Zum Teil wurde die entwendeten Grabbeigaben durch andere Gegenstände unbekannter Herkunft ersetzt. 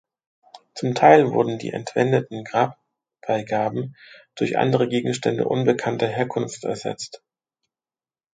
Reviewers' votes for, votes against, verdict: 1, 2, rejected